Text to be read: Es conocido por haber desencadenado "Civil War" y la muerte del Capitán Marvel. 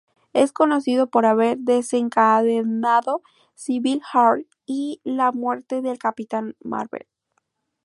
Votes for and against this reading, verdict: 2, 0, accepted